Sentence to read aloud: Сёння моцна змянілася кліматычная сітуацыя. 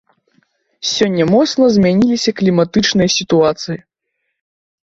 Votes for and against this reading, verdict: 1, 2, rejected